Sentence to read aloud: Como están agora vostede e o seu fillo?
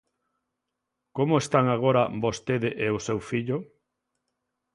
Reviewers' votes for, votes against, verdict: 2, 0, accepted